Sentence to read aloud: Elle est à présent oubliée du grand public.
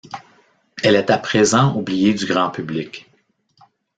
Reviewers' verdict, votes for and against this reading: accepted, 2, 0